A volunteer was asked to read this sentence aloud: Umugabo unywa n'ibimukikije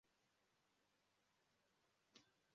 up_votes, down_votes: 0, 2